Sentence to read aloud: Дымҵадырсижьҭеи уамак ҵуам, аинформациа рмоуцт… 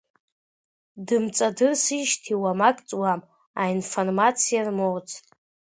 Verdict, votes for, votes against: accepted, 2, 0